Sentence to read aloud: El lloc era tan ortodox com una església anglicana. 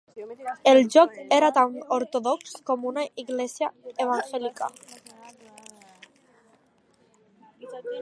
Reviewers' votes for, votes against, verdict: 0, 2, rejected